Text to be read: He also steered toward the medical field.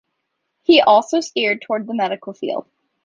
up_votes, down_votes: 2, 0